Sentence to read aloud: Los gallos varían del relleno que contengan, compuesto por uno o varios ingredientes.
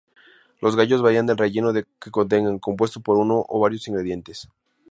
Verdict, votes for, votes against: accepted, 2, 0